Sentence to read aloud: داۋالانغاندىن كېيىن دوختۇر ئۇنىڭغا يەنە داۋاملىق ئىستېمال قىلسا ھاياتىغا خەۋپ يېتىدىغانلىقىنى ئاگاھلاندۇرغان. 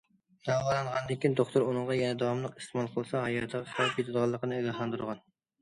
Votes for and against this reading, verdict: 0, 2, rejected